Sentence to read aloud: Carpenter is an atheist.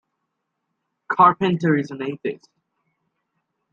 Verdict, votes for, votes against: accepted, 2, 0